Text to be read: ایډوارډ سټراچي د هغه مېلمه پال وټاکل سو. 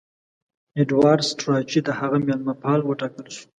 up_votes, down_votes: 0, 2